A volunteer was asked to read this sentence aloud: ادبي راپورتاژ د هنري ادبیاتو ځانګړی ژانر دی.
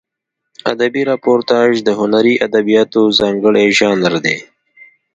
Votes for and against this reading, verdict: 2, 0, accepted